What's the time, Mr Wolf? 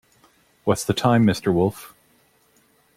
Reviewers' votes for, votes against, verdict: 2, 0, accepted